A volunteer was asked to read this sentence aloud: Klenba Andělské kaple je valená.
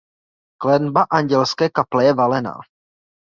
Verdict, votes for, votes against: accepted, 2, 0